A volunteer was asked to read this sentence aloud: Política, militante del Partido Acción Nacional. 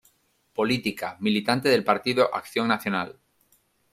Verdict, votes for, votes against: accepted, 2, 0